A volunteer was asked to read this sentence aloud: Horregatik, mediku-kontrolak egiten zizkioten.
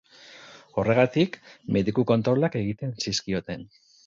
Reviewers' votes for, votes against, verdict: 2, 0, accepted